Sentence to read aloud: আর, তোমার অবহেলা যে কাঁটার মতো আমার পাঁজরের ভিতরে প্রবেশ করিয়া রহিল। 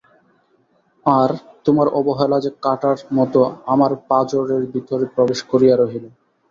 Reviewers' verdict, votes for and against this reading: accepted, 2, 0